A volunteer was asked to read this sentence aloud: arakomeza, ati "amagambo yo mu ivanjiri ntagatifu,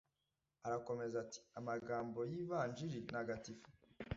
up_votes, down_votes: 1, 2